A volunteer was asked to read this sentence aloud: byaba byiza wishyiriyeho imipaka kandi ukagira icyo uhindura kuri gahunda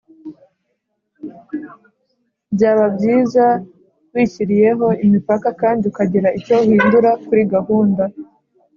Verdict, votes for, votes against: accepted, 2, 0